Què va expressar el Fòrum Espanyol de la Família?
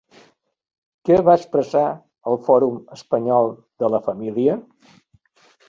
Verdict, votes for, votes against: accepted, 4, 1